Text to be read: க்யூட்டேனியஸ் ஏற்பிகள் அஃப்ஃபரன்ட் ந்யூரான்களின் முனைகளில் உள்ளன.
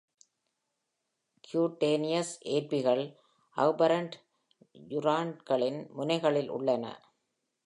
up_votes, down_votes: 2, 0